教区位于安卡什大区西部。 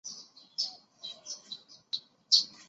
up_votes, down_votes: 3, 5